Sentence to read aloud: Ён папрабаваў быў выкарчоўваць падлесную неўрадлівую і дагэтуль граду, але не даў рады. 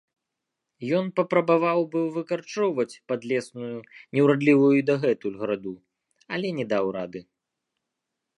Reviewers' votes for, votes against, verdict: 2, 0, accepted